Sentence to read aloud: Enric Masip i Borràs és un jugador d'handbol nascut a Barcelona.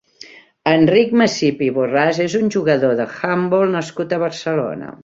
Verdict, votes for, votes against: rejected, 1, 3